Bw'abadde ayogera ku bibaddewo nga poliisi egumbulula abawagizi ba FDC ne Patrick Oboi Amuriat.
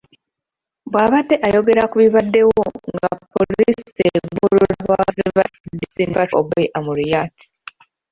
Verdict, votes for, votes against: rejected, 0, 2